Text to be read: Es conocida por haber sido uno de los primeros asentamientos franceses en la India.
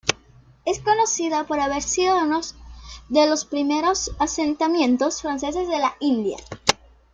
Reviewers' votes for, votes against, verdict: 0, 2, rejected